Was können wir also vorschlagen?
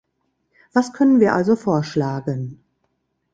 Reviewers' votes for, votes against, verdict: 2, 0, accepted